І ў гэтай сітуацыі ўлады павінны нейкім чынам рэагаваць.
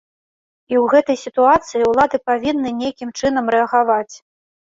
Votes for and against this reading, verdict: 2, 1, accepted